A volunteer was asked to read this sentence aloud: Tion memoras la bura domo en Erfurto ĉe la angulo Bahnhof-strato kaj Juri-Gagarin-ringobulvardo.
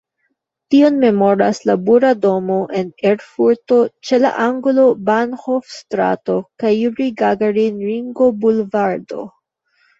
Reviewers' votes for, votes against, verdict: 0, 2, rejected